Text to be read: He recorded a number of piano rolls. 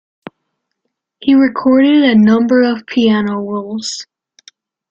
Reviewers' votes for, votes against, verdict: 2, 1, accepted